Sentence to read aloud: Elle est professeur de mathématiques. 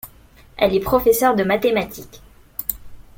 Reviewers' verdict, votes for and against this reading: accepted, 2, 0